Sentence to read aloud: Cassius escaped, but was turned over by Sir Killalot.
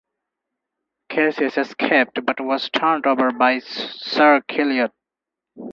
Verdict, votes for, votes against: rejected, 2, 4